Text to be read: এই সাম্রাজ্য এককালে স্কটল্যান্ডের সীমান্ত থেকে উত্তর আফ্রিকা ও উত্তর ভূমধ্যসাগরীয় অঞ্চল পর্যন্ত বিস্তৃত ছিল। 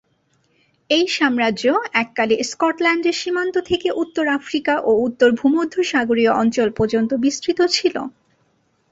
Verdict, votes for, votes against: accepted, 8, 0